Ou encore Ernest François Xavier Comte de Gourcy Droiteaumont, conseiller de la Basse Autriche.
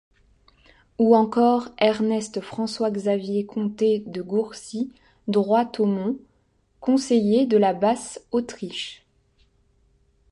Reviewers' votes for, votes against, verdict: 0, 2, rejected